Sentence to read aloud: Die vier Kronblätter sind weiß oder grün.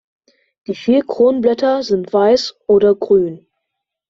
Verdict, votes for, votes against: accepted, 2, 0